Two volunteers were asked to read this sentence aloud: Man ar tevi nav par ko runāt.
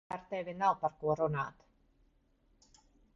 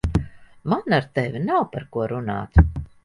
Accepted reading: second